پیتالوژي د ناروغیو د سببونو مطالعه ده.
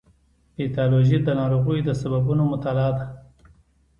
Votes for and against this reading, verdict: 1, 2, rejected